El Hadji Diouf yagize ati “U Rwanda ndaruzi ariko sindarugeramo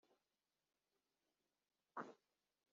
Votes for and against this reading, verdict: 0, 2, rejected